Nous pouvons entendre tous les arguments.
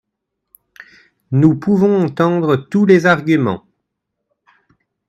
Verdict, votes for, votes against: rejected, 0, 2